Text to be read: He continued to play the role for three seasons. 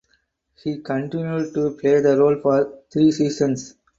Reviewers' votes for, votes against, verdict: 4, 0, accepted